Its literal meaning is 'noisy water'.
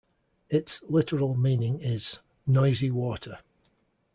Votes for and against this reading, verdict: 2, 0, accepted